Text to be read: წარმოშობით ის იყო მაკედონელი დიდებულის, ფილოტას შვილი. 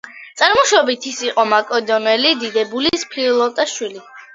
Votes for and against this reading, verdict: 2, 0, accepted